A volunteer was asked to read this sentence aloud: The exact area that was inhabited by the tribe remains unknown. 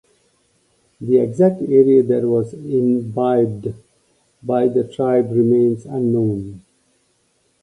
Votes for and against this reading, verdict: 0, 2, rejected